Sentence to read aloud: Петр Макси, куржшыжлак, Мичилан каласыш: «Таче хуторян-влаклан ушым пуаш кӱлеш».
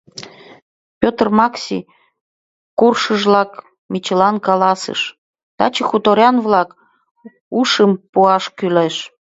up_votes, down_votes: 0, 2